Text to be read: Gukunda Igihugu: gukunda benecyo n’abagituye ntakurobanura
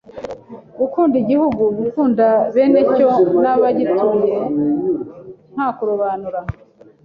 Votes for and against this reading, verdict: 2, 0, accepted